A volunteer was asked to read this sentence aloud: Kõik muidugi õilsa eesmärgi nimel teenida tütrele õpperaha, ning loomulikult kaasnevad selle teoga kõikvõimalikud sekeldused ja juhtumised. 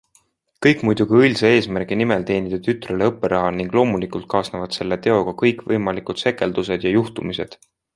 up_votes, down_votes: 2, 0